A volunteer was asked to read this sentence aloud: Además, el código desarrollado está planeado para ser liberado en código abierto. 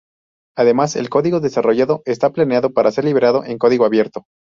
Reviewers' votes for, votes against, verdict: 0, 2, rejected